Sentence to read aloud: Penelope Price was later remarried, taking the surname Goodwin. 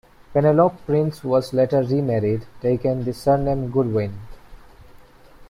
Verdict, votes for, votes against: rejected, 0, 2